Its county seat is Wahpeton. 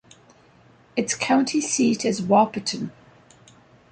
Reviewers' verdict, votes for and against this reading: accepted, 2, 0